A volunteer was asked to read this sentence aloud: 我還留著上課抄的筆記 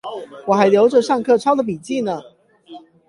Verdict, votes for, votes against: rejected, 4, 8